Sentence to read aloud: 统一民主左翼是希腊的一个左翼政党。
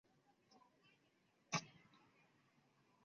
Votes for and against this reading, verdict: 0, 2, rejected